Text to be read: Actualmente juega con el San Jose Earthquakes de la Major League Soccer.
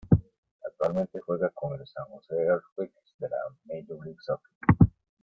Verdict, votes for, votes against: accepted, 2, 0